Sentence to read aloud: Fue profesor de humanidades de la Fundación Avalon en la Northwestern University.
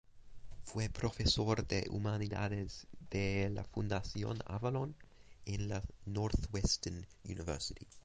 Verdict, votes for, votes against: accepted, 2, 0